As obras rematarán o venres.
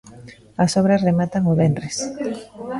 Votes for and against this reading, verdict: 0, 2, rejected